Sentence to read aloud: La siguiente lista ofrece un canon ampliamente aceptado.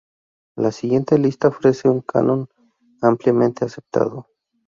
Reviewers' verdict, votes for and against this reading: accepted, 4, 0